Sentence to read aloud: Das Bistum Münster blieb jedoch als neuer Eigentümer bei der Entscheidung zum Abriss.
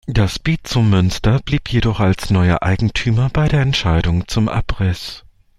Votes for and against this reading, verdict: 1, 2, rejected